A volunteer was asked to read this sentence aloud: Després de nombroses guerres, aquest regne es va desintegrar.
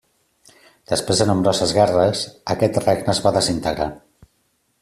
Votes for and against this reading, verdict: 3, 0, accepted